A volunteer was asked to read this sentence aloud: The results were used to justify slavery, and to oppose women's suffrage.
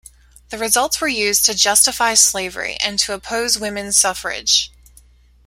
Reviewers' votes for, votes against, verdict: 2, 0, accepted